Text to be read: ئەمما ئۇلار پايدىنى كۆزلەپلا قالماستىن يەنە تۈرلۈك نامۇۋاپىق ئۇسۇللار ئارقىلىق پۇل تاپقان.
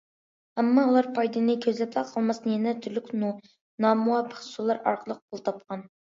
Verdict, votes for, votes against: rejected, 1, 2